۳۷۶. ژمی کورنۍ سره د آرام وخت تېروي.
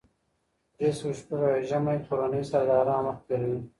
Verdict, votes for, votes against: rejected, 0, 2